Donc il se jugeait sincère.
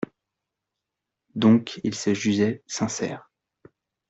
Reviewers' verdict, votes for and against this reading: rejected, 1, 2